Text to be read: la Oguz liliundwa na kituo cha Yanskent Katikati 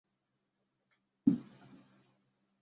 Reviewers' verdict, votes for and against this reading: rejected, 0, 2